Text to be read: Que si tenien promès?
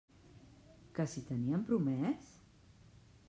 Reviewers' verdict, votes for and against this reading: accepted, 2, 0